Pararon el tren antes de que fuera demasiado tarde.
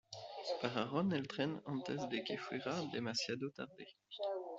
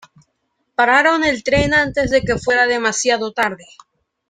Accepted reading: second